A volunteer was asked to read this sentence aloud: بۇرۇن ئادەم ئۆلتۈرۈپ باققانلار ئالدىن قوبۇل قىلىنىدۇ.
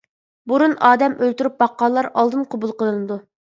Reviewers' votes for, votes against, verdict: 2, 0, accepted